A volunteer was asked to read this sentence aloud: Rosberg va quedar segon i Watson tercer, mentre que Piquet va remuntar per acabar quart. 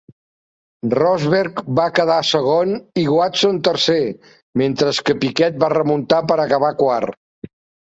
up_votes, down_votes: 1, 2